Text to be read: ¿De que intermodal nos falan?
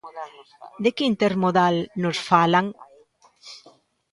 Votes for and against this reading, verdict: 2, 0, accepted